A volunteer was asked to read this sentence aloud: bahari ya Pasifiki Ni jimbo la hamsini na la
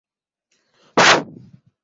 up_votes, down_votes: 0, 2